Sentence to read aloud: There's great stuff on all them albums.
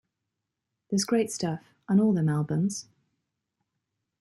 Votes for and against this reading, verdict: 0, 2, rejected